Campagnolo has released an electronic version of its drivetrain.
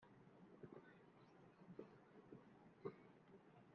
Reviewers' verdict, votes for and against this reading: rejected, 0, 2